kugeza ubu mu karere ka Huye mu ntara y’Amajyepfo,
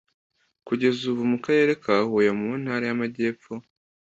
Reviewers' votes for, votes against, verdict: 2, 0, accepted